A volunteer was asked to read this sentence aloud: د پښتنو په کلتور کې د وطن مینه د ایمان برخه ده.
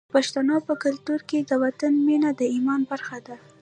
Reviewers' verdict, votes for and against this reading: rejected, 0, 2